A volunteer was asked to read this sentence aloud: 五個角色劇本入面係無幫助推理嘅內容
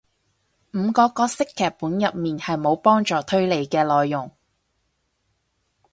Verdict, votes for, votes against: accepted, 2, 0